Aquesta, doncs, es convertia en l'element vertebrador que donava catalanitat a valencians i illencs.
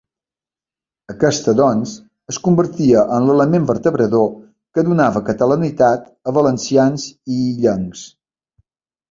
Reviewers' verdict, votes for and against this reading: accepted, 2, 0